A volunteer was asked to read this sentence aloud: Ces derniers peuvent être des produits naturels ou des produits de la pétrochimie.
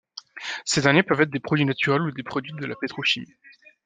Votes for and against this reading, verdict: 2, 1, accepted